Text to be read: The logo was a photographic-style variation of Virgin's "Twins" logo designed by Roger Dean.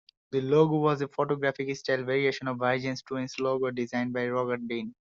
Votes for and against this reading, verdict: 1, 2, rejected